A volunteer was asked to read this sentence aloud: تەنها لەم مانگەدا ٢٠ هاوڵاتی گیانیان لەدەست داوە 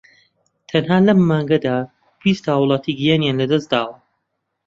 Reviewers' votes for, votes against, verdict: 0, 2, rejected